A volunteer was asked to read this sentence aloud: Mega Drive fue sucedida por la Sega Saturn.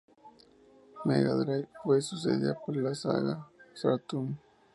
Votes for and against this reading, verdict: 0, 2, rejected